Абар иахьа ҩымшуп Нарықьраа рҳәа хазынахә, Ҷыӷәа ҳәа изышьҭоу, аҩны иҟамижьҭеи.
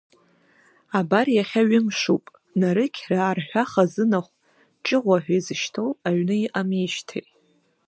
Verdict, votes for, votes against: rejected, 0, 2